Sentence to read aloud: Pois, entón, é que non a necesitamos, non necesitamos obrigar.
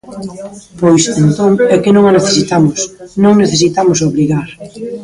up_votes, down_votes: 1, 2